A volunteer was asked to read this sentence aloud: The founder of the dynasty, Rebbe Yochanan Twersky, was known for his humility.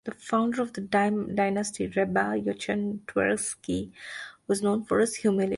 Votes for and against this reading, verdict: 1, 2, rejected